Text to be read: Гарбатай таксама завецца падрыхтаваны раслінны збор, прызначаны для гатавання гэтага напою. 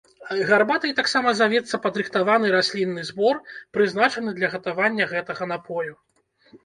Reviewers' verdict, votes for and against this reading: rejected, 1, 2